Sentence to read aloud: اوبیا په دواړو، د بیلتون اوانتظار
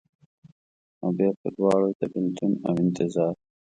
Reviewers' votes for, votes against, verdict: 2, 0, accepted